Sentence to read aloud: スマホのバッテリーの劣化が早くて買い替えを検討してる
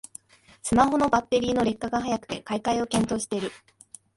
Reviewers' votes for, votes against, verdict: 2, 1, accepted